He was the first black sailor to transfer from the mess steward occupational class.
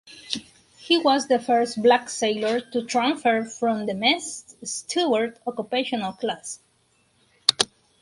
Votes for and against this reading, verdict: 2, 2, rejected